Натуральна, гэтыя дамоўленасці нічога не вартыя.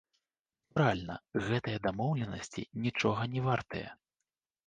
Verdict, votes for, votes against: rejected, 0, 2